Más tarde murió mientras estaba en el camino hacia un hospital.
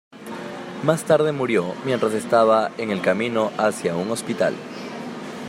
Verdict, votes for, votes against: accepted, 2, 1